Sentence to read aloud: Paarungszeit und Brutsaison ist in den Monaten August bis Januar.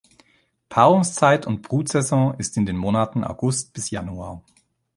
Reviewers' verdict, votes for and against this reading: accepted, 2, 0